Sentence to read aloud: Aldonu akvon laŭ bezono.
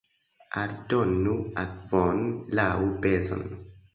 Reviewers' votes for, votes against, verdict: 1, 2, rejected